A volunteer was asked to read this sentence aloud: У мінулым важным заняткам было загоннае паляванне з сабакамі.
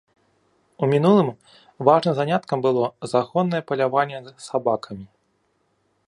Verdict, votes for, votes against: accepted, 2, 0